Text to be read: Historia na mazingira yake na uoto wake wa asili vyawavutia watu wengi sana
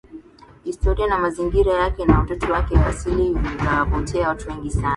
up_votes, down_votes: 0, 2